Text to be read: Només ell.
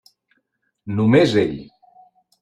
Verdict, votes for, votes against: accepted, 3, 0